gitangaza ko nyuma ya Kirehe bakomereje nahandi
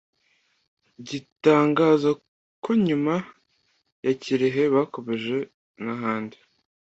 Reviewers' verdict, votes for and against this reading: accepted, 2, 1